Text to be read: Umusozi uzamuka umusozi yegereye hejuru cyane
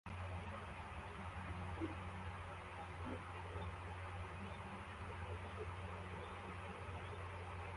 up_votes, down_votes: 0, 2